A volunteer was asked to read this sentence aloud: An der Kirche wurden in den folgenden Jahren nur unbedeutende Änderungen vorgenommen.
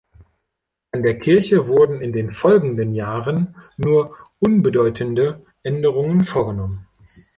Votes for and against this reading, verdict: 3, 0, accepted